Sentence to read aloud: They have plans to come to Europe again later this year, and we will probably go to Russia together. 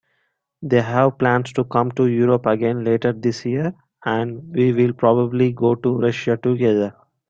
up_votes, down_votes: 3, 0